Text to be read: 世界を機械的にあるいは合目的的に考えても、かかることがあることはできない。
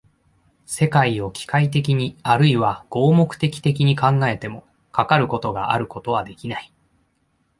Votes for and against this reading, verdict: 2, 0, accepted